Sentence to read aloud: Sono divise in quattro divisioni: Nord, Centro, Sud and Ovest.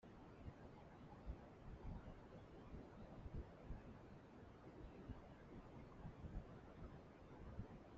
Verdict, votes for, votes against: rejected, 0, 2